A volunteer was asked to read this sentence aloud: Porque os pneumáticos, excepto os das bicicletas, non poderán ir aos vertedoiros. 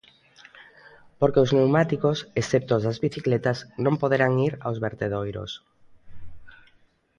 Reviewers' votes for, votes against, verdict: 2, 0, accepted